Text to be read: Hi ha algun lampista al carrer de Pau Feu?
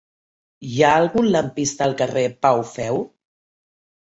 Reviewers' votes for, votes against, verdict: 0, 2, rejected